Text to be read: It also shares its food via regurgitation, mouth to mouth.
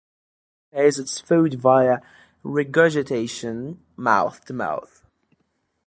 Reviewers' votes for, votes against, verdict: 0, 2, rejected